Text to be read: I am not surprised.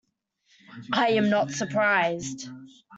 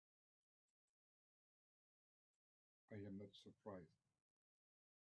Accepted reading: first